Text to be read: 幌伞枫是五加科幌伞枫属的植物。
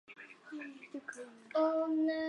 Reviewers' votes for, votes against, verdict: 0, 2, rejected